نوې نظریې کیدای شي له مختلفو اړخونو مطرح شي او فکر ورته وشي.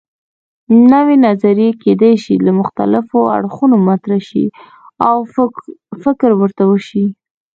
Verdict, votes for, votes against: rejected, 1, 2